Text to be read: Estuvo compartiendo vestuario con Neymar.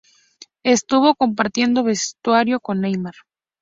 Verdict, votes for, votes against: accepted, 2, 0